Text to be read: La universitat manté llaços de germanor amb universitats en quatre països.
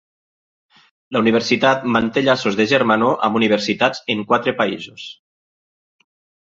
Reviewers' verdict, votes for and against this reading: accepted, 2, 0